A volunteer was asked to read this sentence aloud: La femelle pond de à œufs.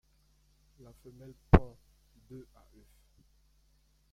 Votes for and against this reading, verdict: 0, 2, rejected